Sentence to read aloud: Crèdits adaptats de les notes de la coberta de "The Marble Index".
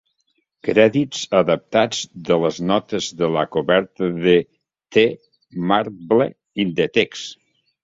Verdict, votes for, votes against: rejected, 0, 2